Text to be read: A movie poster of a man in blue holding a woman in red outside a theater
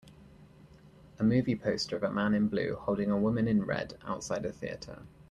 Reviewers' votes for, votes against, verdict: 2, 0, accepted